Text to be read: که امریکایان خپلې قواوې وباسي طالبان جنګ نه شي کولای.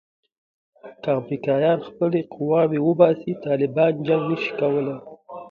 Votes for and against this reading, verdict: 2, 1, accepted